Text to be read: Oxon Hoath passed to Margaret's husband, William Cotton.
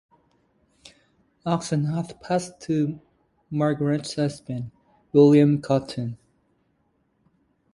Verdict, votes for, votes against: rejected, 1, 2